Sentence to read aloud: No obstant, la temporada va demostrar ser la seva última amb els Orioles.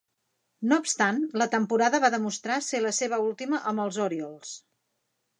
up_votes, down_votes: 1, 2